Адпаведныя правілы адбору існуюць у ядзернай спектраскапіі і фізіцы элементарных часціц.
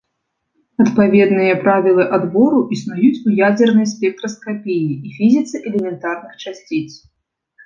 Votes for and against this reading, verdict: 2, 1, accepted